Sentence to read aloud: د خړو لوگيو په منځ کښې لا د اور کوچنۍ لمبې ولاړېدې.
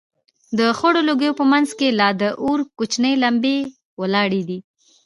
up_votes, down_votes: 1, 2